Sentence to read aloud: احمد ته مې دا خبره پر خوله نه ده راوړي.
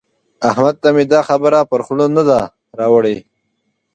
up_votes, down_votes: 2, 0